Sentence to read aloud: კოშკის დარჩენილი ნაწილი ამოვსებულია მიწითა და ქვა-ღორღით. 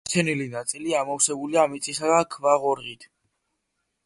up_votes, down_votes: 0, 2